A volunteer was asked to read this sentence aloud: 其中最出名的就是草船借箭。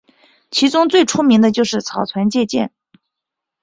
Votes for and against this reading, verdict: 2, 4, rejected